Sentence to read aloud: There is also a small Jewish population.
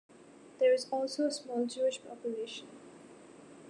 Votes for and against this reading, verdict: 2, 0, accepted